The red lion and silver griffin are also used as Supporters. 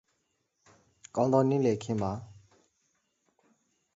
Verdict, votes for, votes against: rejected, 0, 2